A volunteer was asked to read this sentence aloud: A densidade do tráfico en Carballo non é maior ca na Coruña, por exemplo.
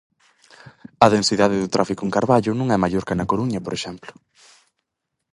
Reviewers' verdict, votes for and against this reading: accepted, 4, 0